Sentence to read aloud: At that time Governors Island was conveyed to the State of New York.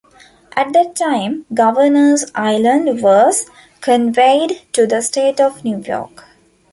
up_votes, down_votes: 2, 0